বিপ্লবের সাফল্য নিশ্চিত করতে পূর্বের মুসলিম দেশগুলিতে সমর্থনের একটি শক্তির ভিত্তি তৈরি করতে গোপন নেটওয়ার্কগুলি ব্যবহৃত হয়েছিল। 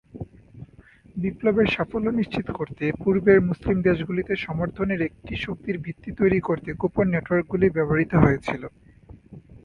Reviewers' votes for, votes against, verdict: 2, 0, accepted